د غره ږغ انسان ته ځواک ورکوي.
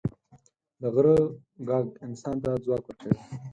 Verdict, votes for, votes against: accepted, 4, 2